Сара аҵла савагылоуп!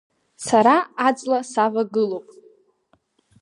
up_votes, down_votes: 2, 0